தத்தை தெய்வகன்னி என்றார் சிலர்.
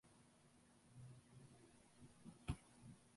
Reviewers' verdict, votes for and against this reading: rejected, 0, 2